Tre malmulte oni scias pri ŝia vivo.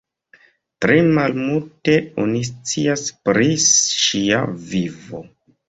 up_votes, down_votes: 1, 2